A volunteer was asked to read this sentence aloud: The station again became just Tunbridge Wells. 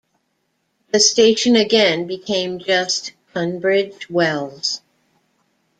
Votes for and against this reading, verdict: 2, 1, accepted